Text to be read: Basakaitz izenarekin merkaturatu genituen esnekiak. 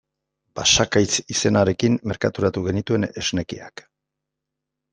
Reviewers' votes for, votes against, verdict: 2, 0, accepted